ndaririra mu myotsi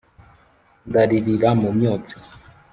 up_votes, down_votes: 2, 0